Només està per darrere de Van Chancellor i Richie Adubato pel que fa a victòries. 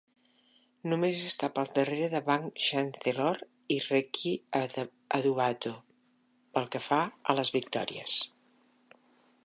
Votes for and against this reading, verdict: 1, 2, rejected